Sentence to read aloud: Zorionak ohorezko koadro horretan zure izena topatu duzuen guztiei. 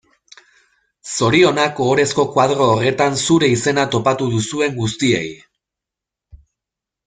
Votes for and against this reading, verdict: 0, 2, rejected